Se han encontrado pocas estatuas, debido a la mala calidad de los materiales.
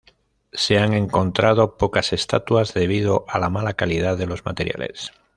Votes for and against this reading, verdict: 2, 0, accepted